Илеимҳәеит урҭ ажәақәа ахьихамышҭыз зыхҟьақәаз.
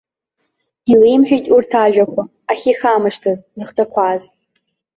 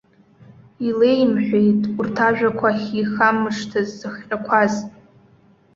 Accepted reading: second